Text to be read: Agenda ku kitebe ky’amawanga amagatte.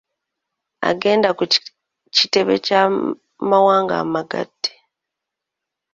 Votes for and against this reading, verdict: 0, 2, rejected